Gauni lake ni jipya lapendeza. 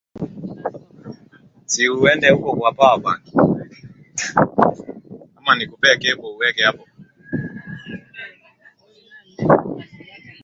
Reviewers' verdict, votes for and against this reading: rejected, 0, 4